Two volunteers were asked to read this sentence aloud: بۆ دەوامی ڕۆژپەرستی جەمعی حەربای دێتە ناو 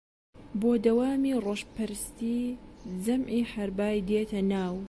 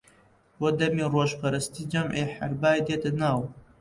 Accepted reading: first